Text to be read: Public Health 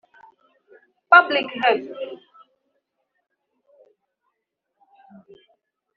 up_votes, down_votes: 1, 2